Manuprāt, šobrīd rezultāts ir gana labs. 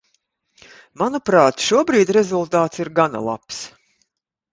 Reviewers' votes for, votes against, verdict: 2, 0, accepted